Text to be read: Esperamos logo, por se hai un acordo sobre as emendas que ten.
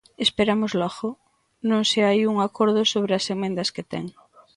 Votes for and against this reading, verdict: 0, 2, rejected